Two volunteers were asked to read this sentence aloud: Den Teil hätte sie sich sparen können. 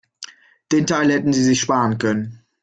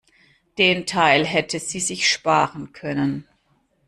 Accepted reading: second